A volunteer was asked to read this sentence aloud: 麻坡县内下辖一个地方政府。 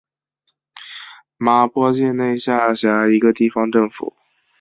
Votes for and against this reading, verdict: 3, 0, accepted